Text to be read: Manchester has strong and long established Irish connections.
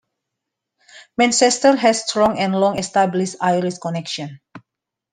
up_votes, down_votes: 1, 2